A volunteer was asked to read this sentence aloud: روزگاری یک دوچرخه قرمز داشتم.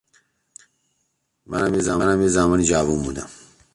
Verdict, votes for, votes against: rejected, 0, 2